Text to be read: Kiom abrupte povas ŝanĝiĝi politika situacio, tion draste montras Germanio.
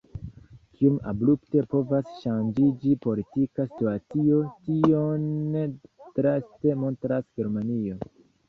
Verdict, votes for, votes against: rejected, 0, 2